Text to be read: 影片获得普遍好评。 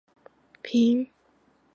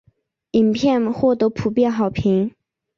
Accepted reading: second